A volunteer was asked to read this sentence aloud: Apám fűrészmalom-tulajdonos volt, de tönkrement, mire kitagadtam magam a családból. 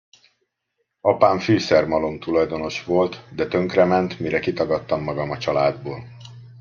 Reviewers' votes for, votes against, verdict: 0, 2, rejected